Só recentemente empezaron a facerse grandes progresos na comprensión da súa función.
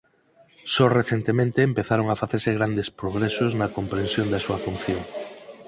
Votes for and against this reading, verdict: 4, 0, accepted